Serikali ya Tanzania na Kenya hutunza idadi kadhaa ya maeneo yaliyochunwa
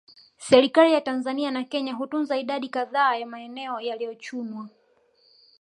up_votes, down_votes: 4, 0